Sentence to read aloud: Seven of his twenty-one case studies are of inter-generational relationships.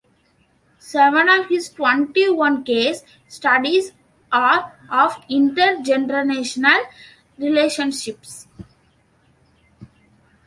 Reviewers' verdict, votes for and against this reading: rejected, 0, 2